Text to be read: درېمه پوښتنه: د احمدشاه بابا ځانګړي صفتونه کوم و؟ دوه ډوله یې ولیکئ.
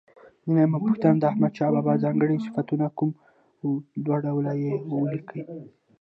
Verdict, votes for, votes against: accepted, 2, 0